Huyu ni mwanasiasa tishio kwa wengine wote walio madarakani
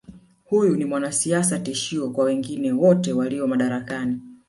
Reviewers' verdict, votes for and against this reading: rejected, 1, 2